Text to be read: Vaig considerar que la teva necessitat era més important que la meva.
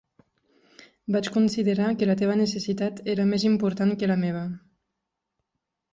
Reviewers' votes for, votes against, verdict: 6, 0, accepted